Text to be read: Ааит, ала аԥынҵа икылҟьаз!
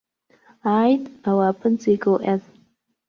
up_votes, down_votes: 1, 2